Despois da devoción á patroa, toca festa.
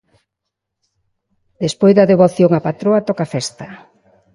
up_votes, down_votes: 2, 0